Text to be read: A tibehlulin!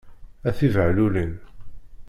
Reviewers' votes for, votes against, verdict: 1, 2, rejected